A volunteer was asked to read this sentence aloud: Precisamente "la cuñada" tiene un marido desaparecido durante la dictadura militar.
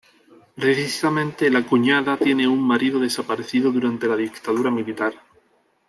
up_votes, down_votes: 1, 2